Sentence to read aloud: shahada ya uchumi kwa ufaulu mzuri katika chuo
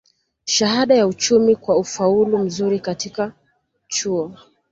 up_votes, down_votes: 2, 0